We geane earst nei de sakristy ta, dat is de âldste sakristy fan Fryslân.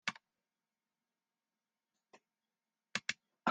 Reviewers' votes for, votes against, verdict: 0, 2, rejected